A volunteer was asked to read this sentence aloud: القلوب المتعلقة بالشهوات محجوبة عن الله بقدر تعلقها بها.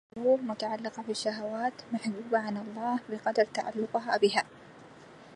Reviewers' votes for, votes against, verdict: 0, 2, rejected